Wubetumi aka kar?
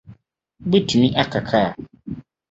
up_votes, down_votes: 4, 0